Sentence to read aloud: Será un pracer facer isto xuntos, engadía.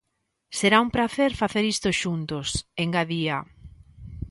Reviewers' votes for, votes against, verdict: 2, 0, accepted